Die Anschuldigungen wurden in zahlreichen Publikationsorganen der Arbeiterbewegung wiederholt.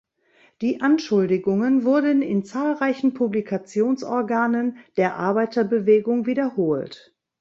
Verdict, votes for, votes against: accepted, 2, 0